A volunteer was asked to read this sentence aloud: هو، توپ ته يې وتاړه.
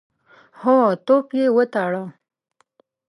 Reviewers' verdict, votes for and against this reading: rejected, 0, 3